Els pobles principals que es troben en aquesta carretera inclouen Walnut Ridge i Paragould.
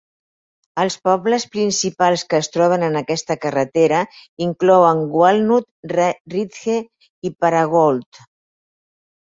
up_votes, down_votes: 0, 4